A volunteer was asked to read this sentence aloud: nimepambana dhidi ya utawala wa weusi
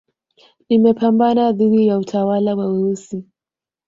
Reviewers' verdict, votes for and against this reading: rejected, 0, 2